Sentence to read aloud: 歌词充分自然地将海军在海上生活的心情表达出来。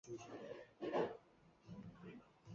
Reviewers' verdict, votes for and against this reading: rejected, 2, 5